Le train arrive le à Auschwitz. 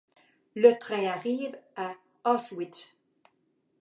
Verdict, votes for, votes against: rejected, 0, 2